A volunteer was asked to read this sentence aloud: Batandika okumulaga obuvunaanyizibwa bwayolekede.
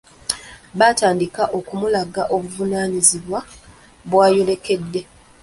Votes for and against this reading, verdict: 1, 2, rejected